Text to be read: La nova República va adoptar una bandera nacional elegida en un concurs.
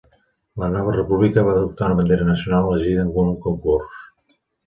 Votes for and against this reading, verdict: 1, 2, rejected